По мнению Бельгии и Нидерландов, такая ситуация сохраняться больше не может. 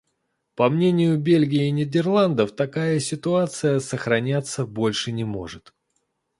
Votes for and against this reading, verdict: 2, 0, accepted